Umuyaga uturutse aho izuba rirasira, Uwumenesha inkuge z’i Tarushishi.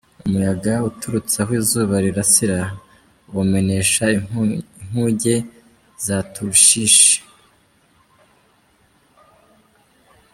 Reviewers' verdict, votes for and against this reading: rejected, 0, 2